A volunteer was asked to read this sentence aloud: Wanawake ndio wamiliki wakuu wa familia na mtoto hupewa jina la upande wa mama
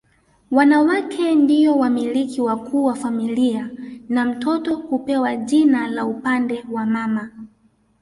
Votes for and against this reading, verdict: 1, 2, rejected